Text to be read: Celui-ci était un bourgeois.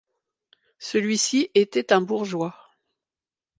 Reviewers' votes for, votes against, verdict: 2, 0, accepted